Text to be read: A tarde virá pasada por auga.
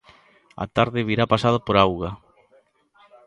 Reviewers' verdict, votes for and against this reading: rejected, 1, 2